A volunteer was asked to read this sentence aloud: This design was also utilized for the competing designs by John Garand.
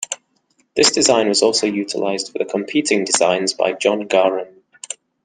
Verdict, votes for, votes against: accepted, 2, 0